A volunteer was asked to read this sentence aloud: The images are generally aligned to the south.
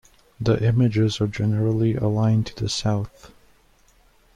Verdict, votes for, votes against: accepted, 2, 0